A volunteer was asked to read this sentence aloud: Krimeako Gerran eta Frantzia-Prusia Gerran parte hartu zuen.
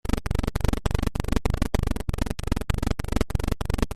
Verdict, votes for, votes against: rejected, 0, 2